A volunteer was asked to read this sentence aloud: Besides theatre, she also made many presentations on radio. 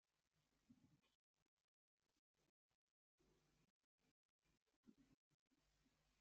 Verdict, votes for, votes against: rejected, 0, 2